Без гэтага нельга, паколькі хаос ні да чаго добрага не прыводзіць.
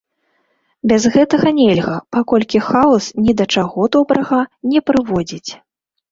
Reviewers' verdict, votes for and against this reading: rejected, 2, 3